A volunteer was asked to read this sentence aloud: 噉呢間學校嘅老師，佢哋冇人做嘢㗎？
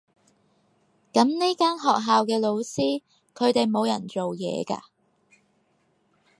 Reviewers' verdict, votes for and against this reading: accepted, 4, 0